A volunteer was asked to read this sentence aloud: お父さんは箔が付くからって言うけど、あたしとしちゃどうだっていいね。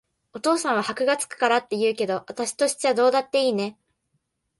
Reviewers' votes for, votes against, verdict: 2, 0, accepted